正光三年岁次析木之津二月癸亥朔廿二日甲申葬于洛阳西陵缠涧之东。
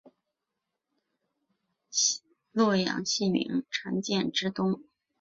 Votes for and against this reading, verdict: 0, 3, rejected